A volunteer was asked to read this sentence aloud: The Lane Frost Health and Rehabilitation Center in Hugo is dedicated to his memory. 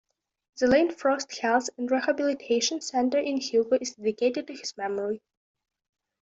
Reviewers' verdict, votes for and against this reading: accepted, 2, 0